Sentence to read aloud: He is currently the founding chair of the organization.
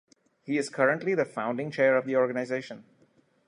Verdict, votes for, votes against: accepted, 2, 0